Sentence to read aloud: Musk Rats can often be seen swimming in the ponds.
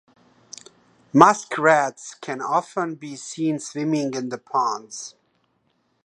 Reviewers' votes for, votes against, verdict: 2, 0, accepted